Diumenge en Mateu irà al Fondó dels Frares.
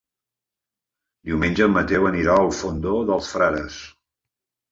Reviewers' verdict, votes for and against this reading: rejected, 1, 2